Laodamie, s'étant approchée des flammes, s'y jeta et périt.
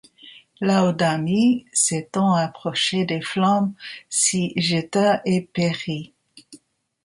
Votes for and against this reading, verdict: 1, 2, rejected